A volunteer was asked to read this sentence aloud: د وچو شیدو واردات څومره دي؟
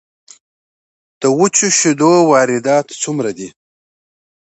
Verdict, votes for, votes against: accepted, 2, 0